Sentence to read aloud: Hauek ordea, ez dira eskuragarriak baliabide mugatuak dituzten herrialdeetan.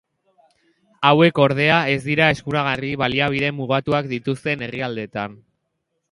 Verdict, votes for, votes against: accepted, 2, 0